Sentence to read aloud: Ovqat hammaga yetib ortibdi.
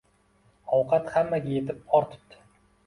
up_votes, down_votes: 2, 0